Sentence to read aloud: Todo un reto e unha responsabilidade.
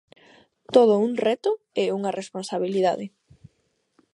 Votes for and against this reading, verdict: 2, 0, accepted